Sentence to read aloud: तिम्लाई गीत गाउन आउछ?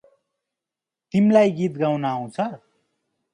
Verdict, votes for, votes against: accepted, 2, 0